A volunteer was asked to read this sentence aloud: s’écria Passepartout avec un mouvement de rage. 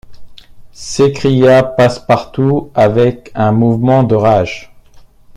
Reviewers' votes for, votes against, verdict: 2, 0, accepted